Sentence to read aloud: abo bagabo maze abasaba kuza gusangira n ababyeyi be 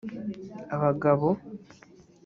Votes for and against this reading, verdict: 1, 2, rejected